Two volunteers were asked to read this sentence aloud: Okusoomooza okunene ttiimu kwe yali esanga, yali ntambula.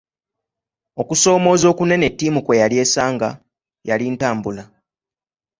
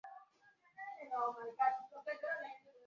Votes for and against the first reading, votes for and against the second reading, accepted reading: 2, 0, 1, 2, first